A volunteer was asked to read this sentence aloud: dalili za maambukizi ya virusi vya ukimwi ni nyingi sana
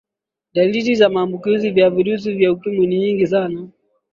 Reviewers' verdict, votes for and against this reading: accepted, 2, 0